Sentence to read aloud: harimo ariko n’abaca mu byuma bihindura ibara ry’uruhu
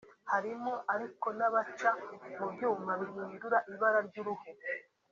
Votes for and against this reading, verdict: 2, 0, accepted